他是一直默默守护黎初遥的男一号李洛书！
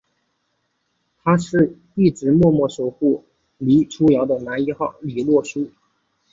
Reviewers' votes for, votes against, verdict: 4, 1, accepted